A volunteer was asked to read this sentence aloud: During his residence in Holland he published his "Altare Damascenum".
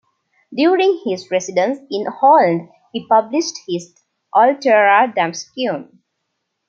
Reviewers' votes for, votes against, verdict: 1, 2, rejected